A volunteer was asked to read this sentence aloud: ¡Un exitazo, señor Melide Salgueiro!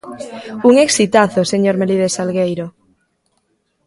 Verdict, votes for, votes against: accepted, 2, 0